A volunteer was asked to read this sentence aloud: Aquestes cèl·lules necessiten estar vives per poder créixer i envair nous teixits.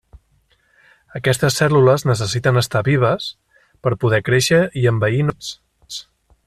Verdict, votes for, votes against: rejected, 0, 2